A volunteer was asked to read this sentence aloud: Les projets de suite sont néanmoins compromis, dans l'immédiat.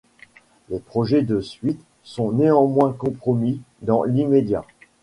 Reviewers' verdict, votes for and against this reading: accepted, 2, 0